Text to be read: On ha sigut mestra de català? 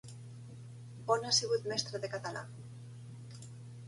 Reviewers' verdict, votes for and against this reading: accepted, 3, 0